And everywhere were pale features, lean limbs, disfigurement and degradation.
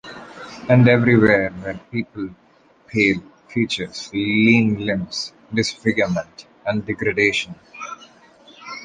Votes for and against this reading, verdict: 1, 2, rejected